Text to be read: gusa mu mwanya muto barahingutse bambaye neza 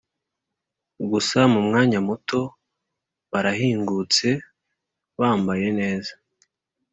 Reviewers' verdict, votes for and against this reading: accepted, 4, 0